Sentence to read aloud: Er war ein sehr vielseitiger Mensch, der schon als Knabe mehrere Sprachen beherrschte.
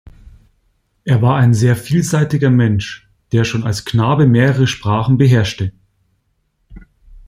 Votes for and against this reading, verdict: 2, 0, accepted